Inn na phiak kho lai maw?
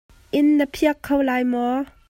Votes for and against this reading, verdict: 2, 0, accepted